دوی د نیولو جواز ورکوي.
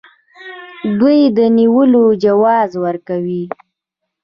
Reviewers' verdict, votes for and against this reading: accepted, 2, 1